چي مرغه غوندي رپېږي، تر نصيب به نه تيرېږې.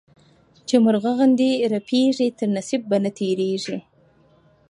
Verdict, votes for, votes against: accepted, 2, 0